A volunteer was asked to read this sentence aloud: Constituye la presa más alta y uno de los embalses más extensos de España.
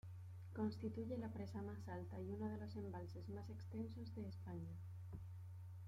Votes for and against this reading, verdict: 2, 1, accepted